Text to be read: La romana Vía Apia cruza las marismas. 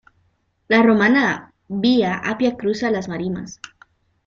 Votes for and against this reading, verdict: 0, 2, rejected